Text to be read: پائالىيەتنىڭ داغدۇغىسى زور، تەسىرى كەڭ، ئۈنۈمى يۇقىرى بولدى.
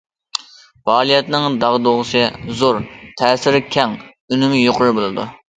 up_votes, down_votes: 0, 2